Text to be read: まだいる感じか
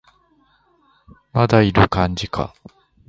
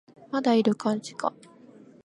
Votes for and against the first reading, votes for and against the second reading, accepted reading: 0, 2, 2, 0, second